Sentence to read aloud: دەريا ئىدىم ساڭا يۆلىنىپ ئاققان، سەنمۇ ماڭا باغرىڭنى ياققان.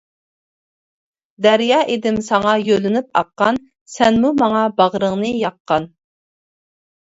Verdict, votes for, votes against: accepted, 2, 0